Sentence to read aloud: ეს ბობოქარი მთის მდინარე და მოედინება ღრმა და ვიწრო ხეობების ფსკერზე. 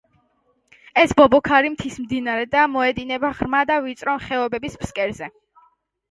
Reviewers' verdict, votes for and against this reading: accepted, 2, 0